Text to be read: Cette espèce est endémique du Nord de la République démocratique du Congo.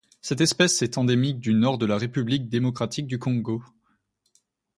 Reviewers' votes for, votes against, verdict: 2, 0, accepted